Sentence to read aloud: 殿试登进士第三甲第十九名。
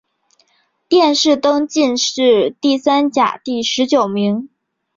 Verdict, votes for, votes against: rejected, 1, 3